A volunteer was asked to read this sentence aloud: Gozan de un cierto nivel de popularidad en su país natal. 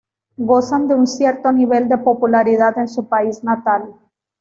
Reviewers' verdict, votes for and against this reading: accepted, 2, 0